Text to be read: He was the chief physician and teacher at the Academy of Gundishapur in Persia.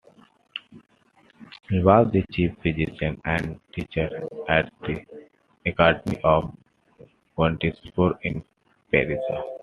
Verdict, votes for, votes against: rejected, 0, 2